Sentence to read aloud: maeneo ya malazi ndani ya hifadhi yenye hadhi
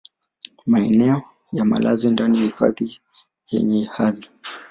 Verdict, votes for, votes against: accepted, 2, 0